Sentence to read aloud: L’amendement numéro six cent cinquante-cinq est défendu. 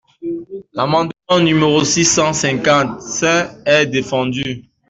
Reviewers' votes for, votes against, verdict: 2, 1, accepted